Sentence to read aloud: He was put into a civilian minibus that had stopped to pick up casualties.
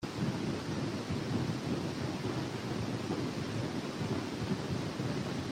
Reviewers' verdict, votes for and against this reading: rejected, 0, 2